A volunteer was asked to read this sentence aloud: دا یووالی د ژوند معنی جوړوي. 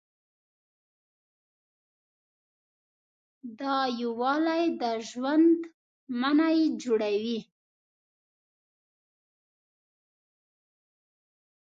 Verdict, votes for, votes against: rejected, 1, 2